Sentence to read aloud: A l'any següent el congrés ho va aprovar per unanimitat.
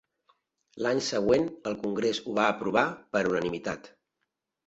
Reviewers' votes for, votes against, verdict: 0, 3, rejected